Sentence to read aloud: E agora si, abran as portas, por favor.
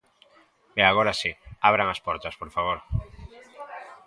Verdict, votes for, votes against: accepted, 2, 0